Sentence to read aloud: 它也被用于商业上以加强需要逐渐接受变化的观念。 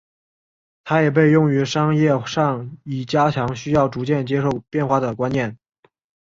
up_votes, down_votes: 3, 0